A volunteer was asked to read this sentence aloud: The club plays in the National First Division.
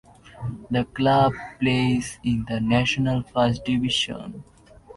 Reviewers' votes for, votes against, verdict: 2, 0, accepted